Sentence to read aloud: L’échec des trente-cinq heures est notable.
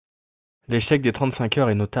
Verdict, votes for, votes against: rejected, 1, 2